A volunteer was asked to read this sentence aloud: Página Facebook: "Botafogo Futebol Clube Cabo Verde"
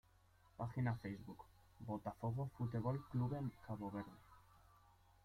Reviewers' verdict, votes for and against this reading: accepted, 2, 1